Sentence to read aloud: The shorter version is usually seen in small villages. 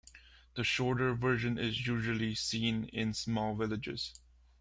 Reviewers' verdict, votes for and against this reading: accepted, 2, 0